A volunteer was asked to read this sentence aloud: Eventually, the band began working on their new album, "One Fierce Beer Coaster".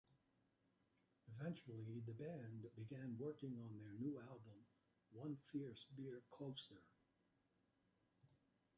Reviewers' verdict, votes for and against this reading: accepted, 2, 0